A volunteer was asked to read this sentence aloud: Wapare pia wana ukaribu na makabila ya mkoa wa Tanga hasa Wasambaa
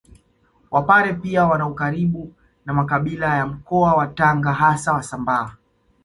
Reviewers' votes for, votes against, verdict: 2, 0, accepted